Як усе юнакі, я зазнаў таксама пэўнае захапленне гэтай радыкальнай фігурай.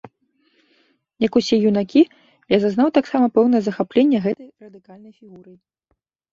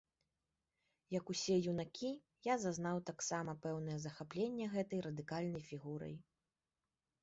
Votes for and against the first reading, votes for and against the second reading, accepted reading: 2, 3, 2, 0, second